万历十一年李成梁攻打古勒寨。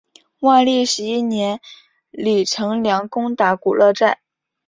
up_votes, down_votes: 3, 0